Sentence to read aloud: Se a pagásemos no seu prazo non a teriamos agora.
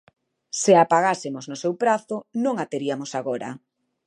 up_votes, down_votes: 1, 2